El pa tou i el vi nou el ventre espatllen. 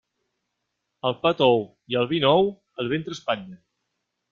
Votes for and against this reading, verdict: 1, 2, rejected